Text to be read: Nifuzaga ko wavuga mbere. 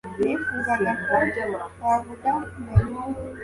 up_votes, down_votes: 2, 1